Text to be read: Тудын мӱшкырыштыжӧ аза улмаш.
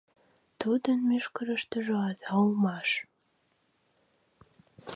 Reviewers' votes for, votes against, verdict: 1, 2, rejected